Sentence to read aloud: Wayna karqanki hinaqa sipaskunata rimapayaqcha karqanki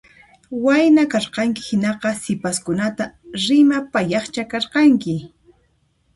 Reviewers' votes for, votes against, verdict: 2, 0, accepted